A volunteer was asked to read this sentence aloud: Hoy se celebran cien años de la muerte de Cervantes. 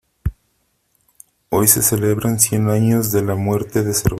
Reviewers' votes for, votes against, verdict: 0, 3, rejected